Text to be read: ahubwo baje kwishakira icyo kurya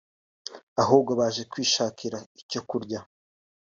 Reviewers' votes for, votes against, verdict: 2, 0, accepted